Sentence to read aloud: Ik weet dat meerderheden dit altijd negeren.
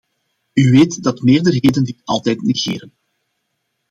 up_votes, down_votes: 1, 2